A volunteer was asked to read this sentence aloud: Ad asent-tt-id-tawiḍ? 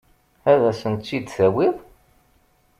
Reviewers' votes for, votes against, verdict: 2, 0, accepted